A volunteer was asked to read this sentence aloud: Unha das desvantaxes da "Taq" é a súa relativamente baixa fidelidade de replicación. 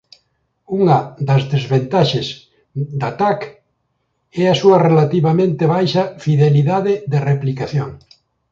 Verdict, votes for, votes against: rejected, 1, 2